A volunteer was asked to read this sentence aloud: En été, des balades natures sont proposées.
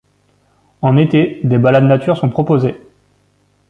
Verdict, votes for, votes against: accepted, 2, 0